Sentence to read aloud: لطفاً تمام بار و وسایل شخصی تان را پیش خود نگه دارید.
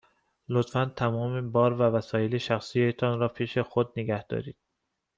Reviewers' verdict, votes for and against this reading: accepted, 2, 0